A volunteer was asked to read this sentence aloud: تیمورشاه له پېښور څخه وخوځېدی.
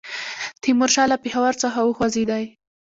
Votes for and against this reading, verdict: 2, 1, accepted